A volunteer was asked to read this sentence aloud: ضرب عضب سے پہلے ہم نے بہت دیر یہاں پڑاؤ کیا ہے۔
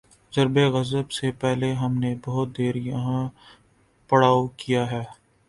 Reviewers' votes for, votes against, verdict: 2, 0, accepted